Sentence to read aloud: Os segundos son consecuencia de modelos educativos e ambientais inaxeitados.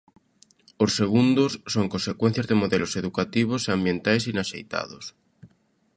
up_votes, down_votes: 1, 2